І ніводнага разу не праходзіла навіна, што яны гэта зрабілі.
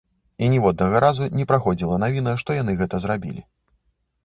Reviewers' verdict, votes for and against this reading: rejected, 1, 2